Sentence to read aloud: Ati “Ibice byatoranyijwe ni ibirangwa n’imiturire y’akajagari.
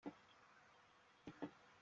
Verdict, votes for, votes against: rejected, 0, 3